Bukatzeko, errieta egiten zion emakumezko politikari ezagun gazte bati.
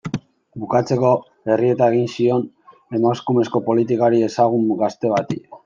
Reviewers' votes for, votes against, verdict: 0, 2, rejected